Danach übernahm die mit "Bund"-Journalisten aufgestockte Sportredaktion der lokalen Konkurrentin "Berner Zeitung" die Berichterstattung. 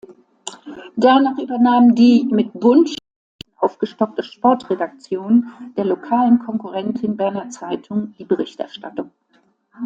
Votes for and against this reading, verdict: 0, 2, rejected